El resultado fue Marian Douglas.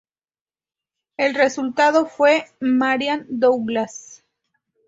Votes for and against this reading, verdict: 2, 0, accepted